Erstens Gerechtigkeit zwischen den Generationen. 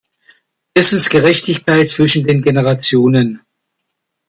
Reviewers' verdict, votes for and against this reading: accepted, 2, 0